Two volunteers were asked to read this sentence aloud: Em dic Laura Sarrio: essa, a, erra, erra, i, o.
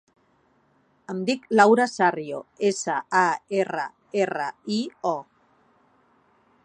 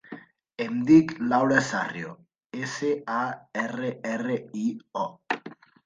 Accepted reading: first